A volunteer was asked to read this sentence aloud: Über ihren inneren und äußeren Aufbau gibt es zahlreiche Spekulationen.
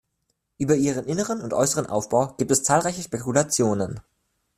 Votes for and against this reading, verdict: 2, 0, accepted